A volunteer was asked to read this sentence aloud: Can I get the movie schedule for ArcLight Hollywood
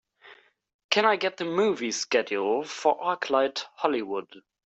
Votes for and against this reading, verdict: 4, 0, accepted